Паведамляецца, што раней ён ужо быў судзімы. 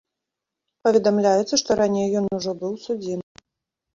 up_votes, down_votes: 0, 2